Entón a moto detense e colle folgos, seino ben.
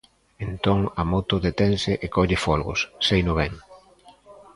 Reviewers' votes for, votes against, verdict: 1, 2, rejected